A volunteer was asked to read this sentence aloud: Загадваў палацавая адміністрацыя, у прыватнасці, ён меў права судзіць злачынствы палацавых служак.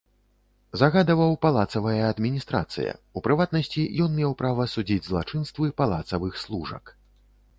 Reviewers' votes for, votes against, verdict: 2, 0, accepted